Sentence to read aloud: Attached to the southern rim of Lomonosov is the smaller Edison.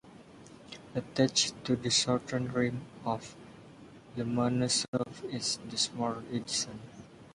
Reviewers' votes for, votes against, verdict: 1, 2, rejected